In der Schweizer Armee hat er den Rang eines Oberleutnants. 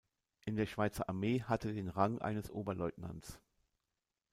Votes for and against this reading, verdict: 1, 2, rejected